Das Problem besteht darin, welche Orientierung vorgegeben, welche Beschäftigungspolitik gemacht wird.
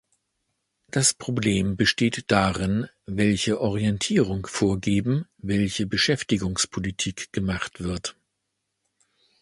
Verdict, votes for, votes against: rejected, 1, 2